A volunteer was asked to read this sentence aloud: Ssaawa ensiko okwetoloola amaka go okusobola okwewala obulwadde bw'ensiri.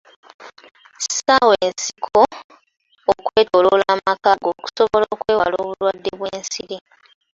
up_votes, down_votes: 2, 1